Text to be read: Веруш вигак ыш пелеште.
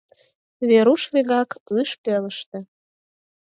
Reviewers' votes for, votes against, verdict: 2, 4, rejected